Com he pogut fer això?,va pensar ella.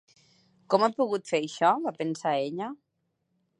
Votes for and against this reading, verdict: 0, 2, rejected